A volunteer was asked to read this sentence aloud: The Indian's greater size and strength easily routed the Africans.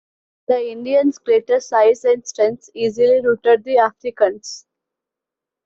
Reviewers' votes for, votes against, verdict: 2, 1, accepted